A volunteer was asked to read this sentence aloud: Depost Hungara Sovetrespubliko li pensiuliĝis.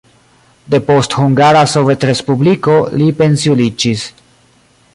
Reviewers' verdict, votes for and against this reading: rejected, 1, 2